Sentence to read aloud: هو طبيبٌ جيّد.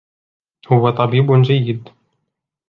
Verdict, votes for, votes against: accepted, 2, 0